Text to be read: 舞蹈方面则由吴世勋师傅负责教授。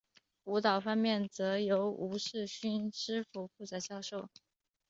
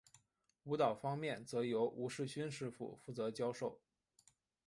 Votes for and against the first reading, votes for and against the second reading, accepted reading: 3, 0, 1, 2, first